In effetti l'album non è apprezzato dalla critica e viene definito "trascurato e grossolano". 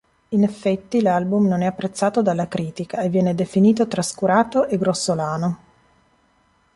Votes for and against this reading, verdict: 2, 0, accepted